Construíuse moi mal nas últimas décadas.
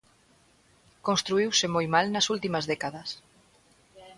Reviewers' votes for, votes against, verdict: 2, 0, accepted